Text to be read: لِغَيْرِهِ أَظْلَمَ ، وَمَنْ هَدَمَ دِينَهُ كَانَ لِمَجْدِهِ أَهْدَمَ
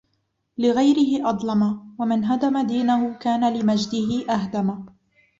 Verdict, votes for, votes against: accepted, 2, 0